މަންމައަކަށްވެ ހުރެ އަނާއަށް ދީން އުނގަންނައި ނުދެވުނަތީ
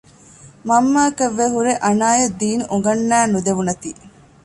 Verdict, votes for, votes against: accepted, 2, 0